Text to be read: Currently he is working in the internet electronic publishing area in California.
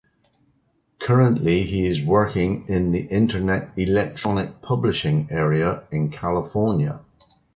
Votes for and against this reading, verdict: 2, 0, accepted